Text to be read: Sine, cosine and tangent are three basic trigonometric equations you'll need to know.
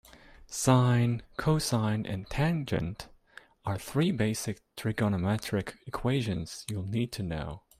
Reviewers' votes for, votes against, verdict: 2, 0, accepted